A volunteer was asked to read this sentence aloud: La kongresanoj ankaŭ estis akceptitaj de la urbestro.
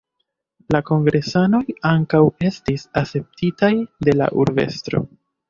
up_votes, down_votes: 1, 2